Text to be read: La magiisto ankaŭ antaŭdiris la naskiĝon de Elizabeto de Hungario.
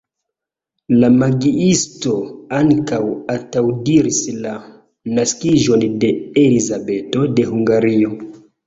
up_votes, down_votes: 0, 2